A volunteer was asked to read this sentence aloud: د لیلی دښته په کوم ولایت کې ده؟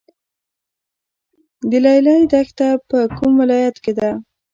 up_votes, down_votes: 0, 2